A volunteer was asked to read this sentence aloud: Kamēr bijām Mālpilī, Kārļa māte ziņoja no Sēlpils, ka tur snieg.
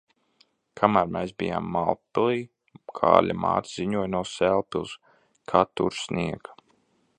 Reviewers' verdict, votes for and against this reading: rejected, 0, 2